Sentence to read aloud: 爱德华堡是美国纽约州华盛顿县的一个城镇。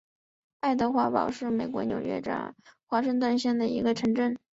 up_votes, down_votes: 3, 1